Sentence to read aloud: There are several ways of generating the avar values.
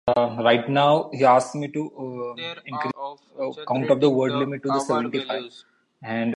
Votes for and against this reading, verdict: 0, 2, rejected